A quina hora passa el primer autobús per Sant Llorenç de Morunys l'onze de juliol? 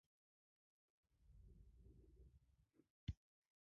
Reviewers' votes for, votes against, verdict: 0, 2, rejected